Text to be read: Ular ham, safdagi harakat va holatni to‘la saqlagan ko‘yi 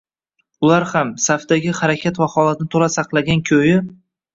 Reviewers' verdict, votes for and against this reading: accepted, 2, 0